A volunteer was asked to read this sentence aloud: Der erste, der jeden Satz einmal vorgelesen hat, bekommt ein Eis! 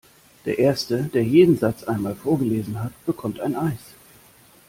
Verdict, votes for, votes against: accepted, 2, 0